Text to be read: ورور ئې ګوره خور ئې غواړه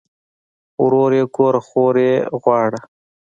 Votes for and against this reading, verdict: 2, 0, accepted